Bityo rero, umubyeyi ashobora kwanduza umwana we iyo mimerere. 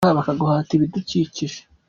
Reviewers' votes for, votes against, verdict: 0, 3, rejected